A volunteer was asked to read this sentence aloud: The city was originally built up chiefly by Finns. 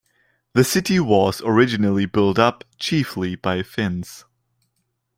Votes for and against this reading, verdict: 2, 0, accepted